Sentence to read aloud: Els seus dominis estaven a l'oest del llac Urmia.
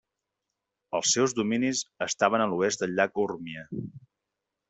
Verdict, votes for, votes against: accepted, 2, 0